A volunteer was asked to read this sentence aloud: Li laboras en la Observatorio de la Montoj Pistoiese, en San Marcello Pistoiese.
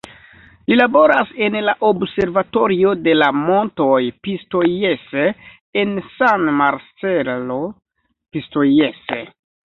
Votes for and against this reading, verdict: 2, 0, accepted